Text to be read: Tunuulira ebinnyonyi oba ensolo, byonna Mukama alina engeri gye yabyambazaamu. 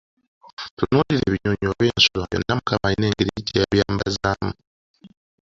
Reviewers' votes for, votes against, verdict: 0, 2, rejected